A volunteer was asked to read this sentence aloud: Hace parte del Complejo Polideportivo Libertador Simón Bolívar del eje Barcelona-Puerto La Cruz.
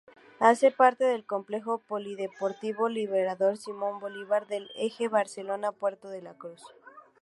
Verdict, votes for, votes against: rejected, 0, 2